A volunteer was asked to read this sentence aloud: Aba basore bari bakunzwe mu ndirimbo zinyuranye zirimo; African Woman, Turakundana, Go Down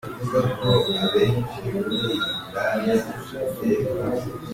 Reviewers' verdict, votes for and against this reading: rejected, 0, 2